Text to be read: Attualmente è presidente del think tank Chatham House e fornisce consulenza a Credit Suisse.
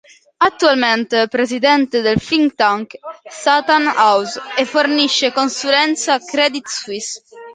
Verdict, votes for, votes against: rejected, 1, 2